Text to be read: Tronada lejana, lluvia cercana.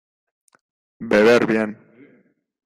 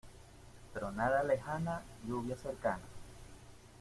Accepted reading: second